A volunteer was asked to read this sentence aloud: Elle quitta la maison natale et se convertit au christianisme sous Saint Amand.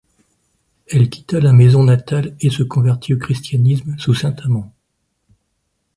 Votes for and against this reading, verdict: 2, 0, accepted